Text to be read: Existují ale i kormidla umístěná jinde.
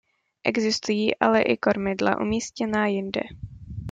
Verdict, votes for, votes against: accepted, 2, 0